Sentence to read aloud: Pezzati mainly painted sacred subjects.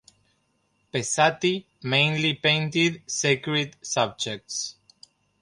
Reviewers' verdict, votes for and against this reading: accepted, 2, 0